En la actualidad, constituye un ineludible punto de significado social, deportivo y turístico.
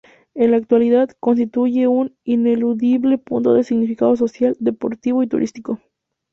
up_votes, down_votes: 2, 2